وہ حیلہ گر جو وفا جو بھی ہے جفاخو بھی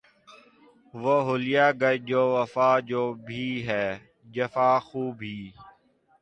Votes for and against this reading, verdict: 0, 2, rejected